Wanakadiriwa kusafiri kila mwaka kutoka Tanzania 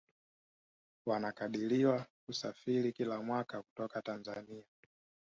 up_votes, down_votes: 2, 1